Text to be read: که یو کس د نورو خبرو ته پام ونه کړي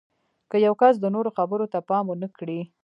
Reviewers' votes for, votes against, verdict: 2, 1, accepted